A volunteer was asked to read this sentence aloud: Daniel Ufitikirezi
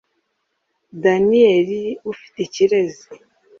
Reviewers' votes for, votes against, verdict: 2, 0, accepted